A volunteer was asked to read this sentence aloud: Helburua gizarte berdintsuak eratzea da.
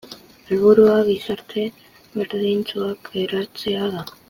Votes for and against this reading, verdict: 1, 2, rejected